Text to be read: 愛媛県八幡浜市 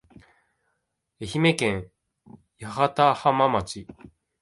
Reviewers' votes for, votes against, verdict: 1, 2, rejected